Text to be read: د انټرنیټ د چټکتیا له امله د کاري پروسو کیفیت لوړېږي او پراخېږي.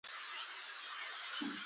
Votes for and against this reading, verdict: 2, 0, accepted